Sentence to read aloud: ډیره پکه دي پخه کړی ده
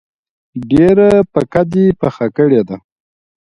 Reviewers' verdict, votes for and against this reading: rejected, 0, 2